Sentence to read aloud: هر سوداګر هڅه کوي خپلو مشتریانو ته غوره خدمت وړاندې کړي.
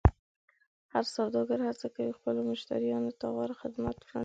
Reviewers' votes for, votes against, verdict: 1, 2, rejected